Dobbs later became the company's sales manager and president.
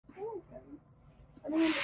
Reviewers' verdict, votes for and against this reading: rejected, 0, 2